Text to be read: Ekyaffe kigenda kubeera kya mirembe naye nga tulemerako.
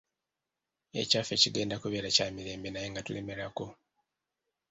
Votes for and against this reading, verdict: 0, 2, rejected